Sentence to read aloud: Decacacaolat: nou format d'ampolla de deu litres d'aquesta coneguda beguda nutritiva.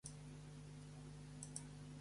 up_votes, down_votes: 0, 2